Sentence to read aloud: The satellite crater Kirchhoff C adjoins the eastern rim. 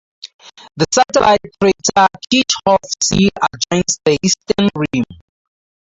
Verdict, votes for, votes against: rejected, 0, 2